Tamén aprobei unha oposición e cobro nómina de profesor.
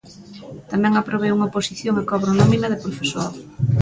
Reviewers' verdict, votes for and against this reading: accepted, 2, 0